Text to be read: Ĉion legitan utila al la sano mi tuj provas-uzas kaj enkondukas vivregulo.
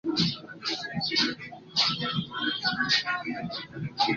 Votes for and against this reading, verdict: 2, 1, accepted